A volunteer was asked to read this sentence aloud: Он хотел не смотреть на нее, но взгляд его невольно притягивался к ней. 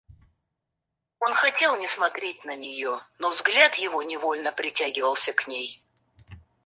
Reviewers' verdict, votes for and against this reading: accepted, 4, 0